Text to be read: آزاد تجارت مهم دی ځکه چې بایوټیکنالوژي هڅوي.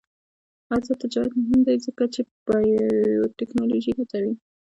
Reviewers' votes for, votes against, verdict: 0, 2, rejected